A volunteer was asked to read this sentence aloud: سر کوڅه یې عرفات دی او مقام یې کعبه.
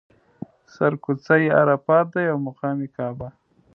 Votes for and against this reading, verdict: 0, 2, rejected